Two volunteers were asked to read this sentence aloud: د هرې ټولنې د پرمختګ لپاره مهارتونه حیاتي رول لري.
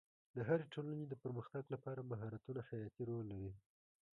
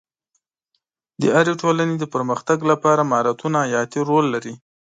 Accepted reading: second